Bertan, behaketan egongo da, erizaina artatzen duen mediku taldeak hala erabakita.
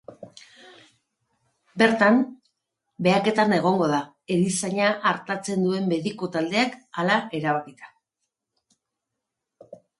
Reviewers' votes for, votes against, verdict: 3, 0, accepted